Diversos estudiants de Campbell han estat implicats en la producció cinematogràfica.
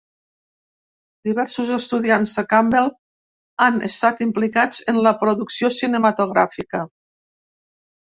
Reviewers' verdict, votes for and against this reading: accepted, 2, 0